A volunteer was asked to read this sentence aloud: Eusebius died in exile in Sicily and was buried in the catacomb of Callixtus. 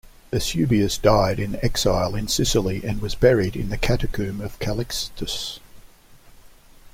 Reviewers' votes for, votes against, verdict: 2, 0, accepted